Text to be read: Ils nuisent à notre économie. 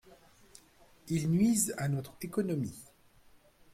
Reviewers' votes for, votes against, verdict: 3, 0, accepted